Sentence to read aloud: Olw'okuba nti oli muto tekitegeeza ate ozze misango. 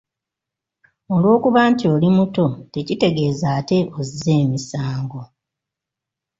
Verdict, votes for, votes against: rejected, 0, 2